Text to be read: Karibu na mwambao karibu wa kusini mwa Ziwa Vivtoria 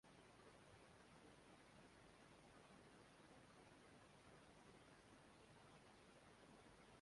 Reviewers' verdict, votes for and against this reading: rejected, 0, 2